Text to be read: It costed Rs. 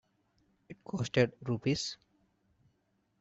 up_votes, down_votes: 0, 2